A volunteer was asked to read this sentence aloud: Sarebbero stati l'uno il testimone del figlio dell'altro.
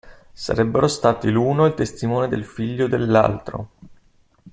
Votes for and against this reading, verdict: 2, 0, accepted